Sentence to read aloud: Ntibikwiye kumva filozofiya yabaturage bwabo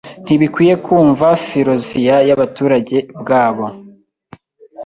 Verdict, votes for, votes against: rejected, 0, 2